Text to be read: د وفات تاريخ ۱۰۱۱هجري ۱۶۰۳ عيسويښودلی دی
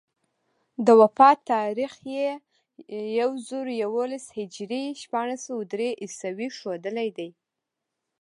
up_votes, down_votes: 0, 2